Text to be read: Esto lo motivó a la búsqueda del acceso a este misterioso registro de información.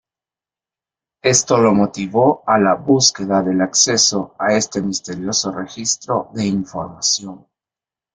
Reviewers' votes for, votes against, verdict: 2, 0, accepted